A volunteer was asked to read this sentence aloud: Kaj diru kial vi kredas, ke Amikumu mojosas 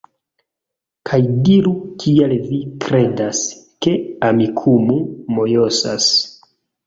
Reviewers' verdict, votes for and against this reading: accepted, 2, 0